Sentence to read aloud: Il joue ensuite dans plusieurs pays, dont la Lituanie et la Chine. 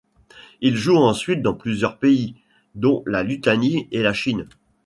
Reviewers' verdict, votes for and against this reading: rejected, 1, 2